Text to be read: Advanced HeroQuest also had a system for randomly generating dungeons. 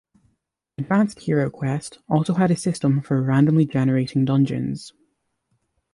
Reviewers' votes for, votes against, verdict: 2, 0, accepted